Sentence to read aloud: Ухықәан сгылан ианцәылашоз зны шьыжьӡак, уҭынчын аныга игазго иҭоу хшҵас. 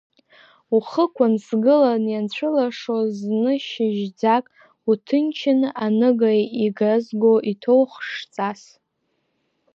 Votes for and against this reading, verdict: 1, 2, rejected